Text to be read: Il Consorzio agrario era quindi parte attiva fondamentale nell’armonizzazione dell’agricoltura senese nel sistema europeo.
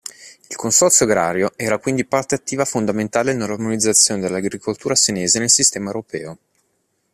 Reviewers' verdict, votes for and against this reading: accepted, 3, 0